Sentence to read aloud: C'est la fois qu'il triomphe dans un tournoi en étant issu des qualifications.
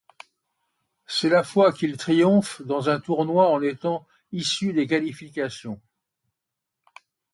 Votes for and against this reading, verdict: 2, 0, accepted